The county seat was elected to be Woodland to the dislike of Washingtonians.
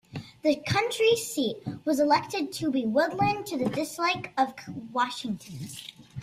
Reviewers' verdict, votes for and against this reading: rejected, 0, 2